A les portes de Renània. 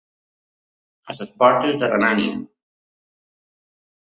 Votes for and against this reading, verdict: 2, 1, accepted